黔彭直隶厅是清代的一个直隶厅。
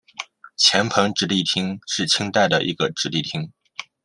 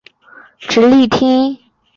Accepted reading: first